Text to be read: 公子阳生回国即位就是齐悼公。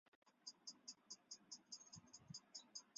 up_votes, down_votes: 1, 2